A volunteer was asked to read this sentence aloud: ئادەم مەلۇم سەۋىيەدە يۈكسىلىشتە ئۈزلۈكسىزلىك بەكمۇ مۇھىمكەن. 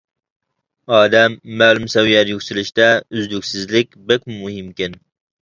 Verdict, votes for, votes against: rejected, 0, 2